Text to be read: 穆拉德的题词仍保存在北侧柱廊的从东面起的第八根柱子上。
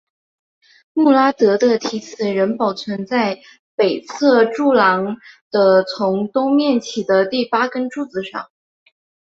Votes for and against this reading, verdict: 2, 1, accepted